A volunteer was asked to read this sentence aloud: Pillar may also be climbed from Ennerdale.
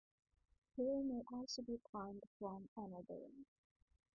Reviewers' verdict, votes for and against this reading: rejected, 0, 2